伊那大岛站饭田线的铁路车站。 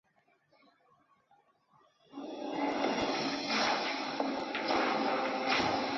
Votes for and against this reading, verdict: 1, 4, rejected